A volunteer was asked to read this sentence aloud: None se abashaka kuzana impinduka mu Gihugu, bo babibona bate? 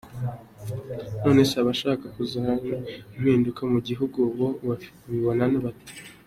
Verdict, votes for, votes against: accepted, 2, 0